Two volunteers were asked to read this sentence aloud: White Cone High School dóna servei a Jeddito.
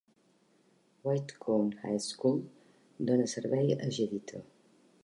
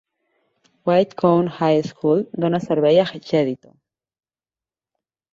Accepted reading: first